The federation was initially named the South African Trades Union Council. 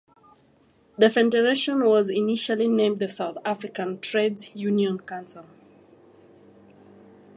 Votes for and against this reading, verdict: 1, 2, rejected